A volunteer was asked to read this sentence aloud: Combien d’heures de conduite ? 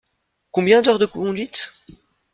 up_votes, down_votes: 2, 0